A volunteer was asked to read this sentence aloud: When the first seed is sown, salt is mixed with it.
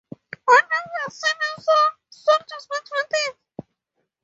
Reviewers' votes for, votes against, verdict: 2, 0, accepted